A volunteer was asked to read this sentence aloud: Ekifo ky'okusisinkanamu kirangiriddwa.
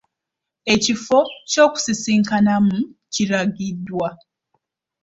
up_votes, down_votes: 2, 1